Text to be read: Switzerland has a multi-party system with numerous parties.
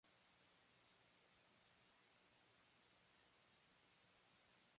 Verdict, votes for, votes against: rejected, 0, 2